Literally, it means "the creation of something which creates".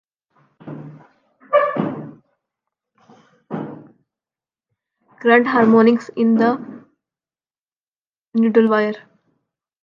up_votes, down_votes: 0, 2